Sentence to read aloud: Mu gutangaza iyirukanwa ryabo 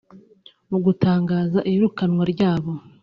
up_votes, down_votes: 2, 0